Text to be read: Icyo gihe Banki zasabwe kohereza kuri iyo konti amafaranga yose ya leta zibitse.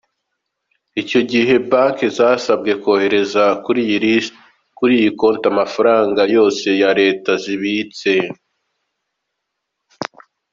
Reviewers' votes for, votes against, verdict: 0, 2, rejected